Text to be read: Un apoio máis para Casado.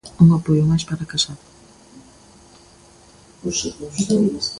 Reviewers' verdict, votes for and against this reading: rejected, 0, 2